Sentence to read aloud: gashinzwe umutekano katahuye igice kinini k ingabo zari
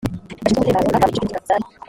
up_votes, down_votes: 0, 2